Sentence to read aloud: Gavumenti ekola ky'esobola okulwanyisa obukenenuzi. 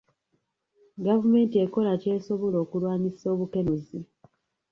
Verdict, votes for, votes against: accepted, 2, 0